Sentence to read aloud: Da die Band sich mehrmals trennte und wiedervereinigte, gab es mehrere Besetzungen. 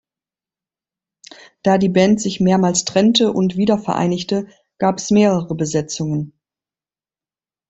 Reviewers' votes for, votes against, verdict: 0, 2, rejected